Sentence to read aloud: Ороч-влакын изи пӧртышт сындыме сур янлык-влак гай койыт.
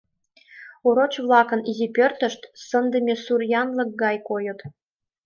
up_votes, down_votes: 2, 1